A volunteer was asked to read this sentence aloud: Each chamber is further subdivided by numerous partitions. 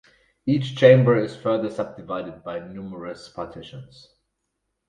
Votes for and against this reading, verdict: 4, 0, accepted